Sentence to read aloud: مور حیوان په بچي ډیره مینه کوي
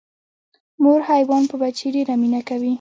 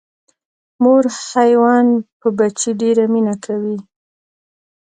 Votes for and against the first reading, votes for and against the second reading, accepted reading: 1, 2, 2, 1, second